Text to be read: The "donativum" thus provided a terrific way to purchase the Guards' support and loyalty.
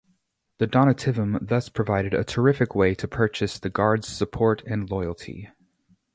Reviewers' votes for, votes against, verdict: 2, 0, accepted